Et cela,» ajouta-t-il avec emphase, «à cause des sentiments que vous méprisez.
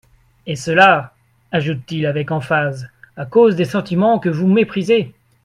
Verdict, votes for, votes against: rejected, 0, 2